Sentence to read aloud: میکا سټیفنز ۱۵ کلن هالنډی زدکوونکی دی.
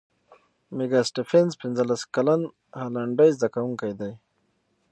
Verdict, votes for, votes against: rejected, 0, 2